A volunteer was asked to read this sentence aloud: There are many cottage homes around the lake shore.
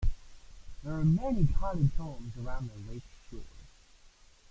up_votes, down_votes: 0, 2